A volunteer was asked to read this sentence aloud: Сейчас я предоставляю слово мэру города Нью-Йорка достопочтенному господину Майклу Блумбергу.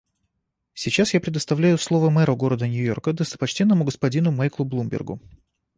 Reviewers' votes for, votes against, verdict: 2, 0, accepted